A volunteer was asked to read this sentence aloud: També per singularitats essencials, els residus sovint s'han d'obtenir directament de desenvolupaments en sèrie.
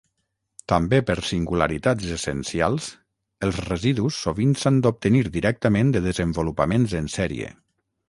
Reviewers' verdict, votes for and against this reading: accepted, 6, 0